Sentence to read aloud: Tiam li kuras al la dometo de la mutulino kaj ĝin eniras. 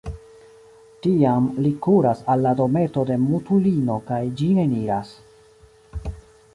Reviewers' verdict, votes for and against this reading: accepted, 2, 0